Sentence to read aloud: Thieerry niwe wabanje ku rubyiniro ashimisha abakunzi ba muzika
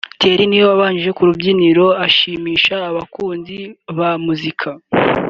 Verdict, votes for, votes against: accepted, 3, 0